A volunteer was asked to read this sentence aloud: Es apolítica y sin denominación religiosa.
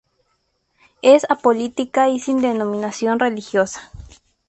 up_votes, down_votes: 0, 2